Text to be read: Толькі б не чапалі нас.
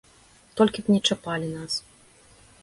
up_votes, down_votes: 1, 2